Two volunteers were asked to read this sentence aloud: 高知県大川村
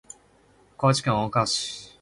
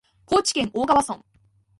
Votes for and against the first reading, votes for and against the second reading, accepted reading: 0, 2, 18, 3, second